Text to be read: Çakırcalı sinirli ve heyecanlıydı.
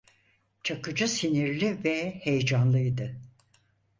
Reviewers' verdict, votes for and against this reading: rejected, 0, 4